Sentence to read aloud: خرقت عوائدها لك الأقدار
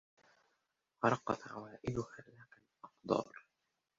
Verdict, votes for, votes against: rejected, 0, 2